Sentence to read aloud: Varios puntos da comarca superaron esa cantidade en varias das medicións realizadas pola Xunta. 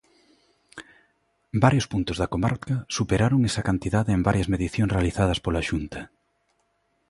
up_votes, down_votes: 0, 2